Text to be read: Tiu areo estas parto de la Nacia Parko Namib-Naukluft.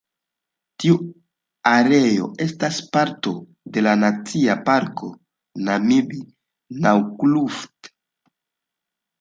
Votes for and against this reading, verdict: 2, 1, accepted